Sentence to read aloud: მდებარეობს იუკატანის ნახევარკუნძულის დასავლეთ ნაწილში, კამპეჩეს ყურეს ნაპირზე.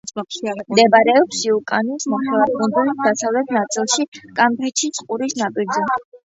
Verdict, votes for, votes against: rejected, 0, 2